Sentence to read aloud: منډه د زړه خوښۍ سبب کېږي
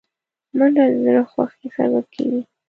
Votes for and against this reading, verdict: 1, 2, rejected